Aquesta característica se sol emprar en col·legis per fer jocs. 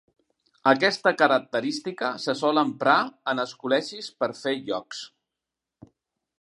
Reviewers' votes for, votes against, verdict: 1, 2, rejected